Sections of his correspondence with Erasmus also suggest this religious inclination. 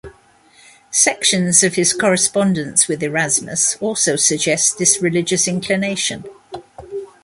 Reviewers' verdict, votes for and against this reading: rejected, 1, 2